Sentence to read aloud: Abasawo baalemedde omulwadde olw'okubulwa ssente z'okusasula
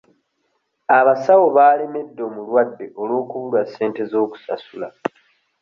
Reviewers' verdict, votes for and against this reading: accepted, 2, 0